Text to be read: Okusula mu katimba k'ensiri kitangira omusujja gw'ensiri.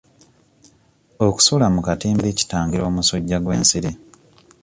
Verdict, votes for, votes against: rejected, 1, 2